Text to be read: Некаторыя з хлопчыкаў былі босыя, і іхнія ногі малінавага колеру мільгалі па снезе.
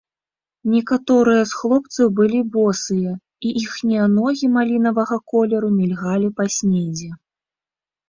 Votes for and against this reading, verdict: 0, 2, rejected